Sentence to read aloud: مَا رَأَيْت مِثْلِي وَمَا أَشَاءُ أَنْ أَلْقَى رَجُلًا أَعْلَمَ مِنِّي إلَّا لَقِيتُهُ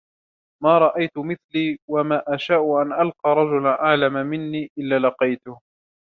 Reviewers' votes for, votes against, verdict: 2, 0, accepted